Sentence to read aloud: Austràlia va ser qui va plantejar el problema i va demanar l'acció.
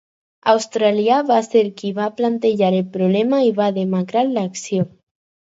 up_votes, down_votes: 0, 4